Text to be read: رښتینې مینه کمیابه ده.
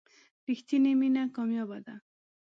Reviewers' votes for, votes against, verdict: 2, 0, accepted